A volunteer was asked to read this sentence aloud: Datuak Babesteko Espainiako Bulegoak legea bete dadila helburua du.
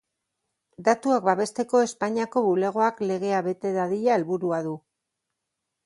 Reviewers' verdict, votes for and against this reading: accepted, 2, 0